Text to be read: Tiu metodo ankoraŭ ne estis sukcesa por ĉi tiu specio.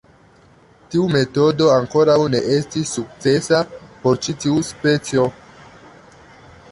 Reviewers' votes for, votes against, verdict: 2, 0, accepted